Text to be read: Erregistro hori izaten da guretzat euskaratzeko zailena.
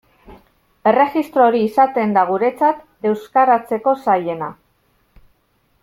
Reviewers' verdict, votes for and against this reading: accepted, 2, 0